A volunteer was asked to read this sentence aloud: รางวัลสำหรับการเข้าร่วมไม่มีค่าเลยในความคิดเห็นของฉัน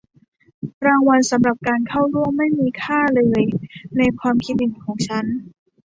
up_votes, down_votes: 2, 1